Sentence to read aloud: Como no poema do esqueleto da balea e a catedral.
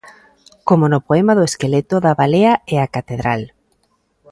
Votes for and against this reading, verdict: 2, 0, accepted